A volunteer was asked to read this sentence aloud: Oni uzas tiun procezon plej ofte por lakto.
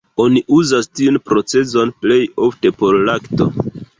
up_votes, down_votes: 2, 1